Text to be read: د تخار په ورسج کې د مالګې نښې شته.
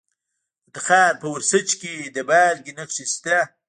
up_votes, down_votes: 0, 2